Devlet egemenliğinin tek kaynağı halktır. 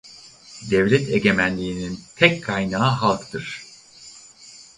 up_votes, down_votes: 4, 0